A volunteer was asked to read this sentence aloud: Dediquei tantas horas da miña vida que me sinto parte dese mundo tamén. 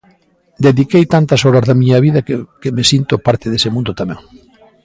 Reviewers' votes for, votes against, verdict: 1, 2, rejected